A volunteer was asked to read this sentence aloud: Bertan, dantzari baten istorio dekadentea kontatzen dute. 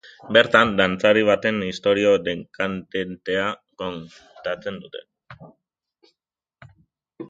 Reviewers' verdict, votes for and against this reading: rejected, 0, 3